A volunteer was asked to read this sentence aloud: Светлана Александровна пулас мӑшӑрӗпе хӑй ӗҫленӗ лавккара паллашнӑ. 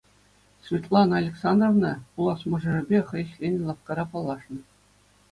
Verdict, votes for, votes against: accepted, 2, 0